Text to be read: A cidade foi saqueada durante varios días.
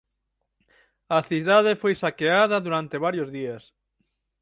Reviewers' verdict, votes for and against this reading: accepted, 6, 0